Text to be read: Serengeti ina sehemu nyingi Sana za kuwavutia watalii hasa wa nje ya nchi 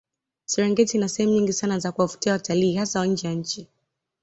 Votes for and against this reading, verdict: 2, 0, accepted